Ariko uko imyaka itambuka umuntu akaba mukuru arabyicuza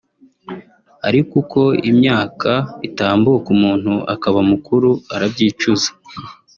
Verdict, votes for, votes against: accepted, 2, 1